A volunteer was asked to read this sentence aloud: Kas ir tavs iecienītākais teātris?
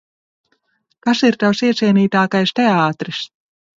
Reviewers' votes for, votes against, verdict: 2, 0, accepted